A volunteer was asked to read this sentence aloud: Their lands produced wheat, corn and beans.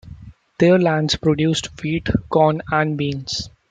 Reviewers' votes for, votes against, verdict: 2, 0, accepted